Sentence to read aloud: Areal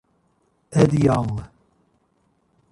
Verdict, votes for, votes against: rejected, 1, 2